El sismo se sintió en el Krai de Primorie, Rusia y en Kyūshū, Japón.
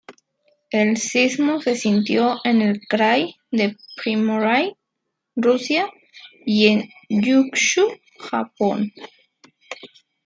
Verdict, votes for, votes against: rejected, 0, 2